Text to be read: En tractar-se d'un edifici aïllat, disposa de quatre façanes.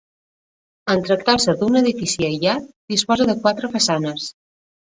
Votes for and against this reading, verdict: 2, 0, accepted